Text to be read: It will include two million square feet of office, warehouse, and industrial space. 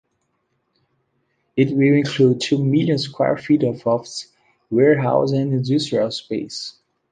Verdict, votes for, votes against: rejected, 1, 2